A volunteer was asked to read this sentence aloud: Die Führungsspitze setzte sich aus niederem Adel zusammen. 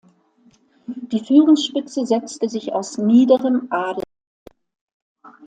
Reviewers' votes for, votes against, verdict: 0, 2, rejected